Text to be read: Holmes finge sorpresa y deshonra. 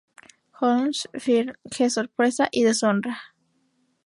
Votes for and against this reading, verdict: 0, 2, rejected